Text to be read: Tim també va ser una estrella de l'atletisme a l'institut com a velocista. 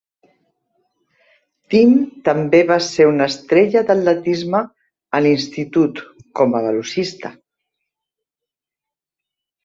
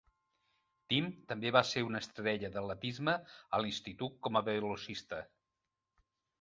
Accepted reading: first